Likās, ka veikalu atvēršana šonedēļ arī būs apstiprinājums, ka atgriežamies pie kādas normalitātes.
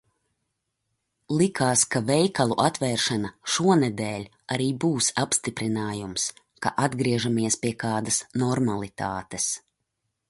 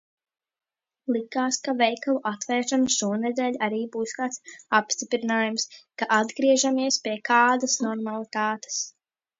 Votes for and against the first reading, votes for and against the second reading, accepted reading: 2, 0, 1, 2, first